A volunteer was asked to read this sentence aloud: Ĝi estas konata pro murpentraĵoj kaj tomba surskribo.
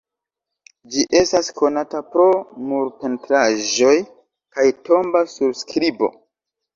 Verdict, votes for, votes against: accepted, 2, 0